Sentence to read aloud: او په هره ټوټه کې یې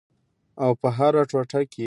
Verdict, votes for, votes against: accepted, 2, 0